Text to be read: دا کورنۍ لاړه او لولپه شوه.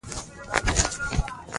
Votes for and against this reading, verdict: 0, 2, rejected